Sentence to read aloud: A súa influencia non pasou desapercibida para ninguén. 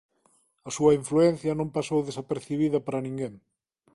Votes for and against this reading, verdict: 2, 0, accepted